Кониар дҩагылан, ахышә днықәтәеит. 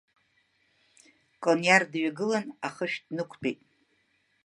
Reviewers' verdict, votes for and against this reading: accepted, 2, 0